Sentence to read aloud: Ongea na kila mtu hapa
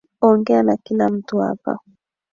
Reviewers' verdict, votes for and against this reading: accepted, 2, 1